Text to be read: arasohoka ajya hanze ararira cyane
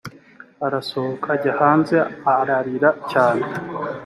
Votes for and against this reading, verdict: 4, 0, accepted